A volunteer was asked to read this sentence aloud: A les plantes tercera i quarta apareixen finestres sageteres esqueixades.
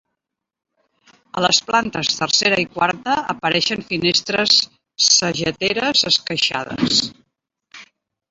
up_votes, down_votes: 2, 0